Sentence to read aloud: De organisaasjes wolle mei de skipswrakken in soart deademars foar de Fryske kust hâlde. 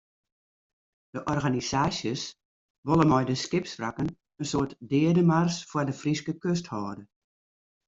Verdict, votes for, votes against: rejected, 1, 2